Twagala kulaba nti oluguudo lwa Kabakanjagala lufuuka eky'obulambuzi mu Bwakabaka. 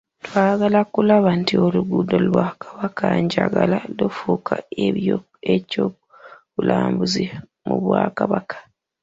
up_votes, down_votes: 0, 2